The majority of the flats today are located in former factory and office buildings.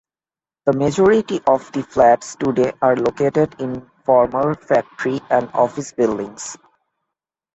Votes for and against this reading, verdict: 1, 2, rejected